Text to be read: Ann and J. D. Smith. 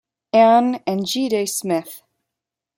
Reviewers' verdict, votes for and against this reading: rejected, 0, 2